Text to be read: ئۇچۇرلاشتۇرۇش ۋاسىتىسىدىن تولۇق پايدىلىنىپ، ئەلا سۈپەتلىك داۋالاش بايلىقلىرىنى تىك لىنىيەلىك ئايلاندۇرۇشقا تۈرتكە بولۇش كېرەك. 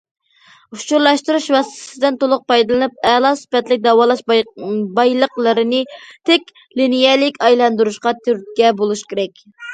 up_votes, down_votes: 0, 2